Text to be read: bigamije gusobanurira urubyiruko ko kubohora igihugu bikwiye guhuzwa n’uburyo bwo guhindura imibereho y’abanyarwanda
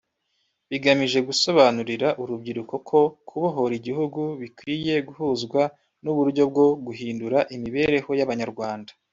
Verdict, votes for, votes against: rejected, 0, 2